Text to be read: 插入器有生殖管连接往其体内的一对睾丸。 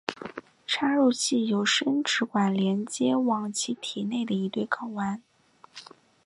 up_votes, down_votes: 5, 0